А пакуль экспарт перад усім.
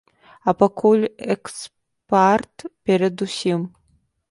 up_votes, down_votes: 1, 2